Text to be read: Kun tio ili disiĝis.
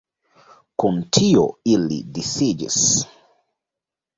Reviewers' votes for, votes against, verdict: 2, 0, accepted